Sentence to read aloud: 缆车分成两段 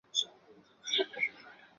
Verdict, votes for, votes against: accepted, 2, 0